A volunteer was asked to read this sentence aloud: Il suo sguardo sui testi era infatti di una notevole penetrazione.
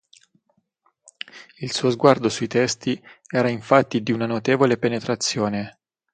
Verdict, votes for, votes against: accepted, 6, 0